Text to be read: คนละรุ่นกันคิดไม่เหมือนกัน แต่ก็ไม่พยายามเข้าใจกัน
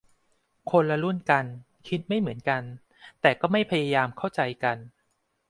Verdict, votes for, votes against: accepted, 2, 0